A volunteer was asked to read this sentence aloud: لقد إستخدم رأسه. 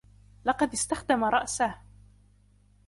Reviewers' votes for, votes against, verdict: 2, 0, accepted